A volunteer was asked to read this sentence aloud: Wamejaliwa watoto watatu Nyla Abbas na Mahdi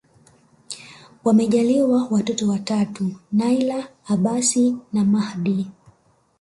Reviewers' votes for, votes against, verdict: 1, 2, rejected